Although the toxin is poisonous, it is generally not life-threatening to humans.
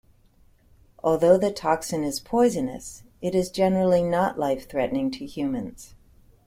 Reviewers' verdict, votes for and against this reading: accepted, 2, 0